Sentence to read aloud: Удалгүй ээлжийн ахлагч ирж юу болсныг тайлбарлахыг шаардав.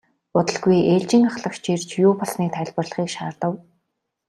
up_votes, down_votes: 2, 0